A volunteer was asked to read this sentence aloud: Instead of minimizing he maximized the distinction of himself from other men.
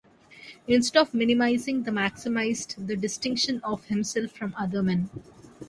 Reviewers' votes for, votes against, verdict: 1, 2, rejected